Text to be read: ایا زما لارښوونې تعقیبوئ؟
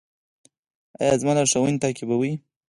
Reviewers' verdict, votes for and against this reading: accepted, 4, 2